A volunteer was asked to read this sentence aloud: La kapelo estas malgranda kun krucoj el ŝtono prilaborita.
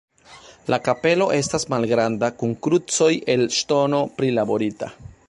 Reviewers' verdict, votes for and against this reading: accepted, 2, 1